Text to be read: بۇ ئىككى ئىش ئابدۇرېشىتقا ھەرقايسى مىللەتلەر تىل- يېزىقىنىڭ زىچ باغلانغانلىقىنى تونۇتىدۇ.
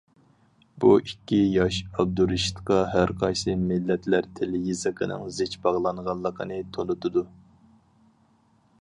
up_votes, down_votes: 2, 2